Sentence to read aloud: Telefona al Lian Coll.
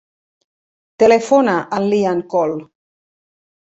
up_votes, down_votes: 0, 2